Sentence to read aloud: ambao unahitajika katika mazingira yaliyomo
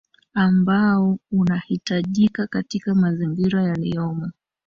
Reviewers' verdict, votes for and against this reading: rejected, 0, 2